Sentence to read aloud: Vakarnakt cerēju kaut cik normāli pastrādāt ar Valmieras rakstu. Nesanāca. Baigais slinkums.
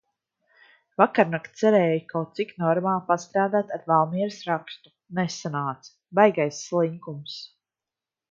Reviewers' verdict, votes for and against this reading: accepted, 2, 0